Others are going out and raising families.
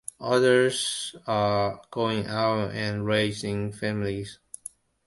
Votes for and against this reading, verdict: 2, 0, accepted